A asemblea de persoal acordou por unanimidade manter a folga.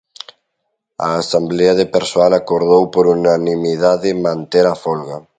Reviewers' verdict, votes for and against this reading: rejected, 1, 2